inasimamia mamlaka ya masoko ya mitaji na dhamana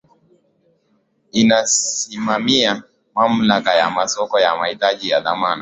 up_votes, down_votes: 7, 4